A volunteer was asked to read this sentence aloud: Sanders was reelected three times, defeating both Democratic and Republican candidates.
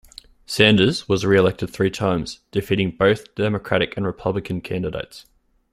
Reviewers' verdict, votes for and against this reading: accepted, 2, 0